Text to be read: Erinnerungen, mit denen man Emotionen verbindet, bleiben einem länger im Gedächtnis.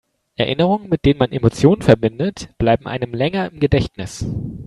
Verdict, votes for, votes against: accepted, 4, 0